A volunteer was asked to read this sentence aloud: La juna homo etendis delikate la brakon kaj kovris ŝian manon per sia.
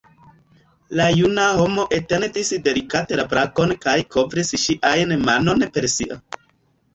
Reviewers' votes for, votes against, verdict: 0, 2, rejected